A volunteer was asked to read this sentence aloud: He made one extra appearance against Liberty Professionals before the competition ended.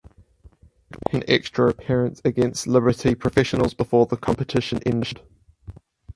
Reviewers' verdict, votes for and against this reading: rejected, 2, 4